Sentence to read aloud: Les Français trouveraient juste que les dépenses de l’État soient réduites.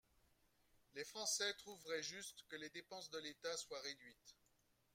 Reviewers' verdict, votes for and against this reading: accepted, 2, 0